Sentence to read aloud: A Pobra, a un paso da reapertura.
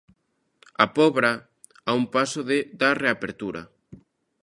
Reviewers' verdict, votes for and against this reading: rejected, 0, 3